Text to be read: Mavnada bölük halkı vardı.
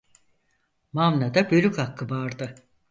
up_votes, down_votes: 0, 4